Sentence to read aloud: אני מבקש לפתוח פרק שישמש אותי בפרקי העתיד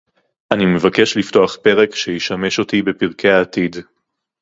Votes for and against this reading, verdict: 2, 0, accepted